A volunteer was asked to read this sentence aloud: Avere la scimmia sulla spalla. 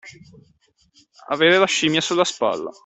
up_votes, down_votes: 2, 0